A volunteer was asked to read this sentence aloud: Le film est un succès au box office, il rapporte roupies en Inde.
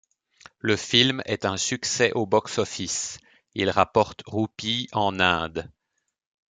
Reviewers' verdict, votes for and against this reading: accepted, 2, 0